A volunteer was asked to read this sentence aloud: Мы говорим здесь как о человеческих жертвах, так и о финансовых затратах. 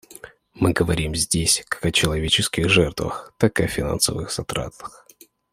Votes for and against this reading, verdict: 2, 0, accepted